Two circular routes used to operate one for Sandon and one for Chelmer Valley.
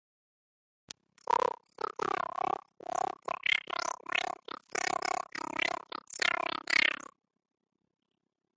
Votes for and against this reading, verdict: 0, 2, rejected